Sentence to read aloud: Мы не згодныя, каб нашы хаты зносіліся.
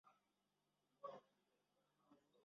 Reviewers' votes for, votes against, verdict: 0, 2, rejected